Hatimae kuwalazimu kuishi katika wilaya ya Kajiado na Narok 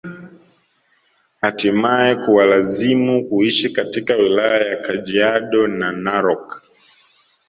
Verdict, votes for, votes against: rejected, 1, 2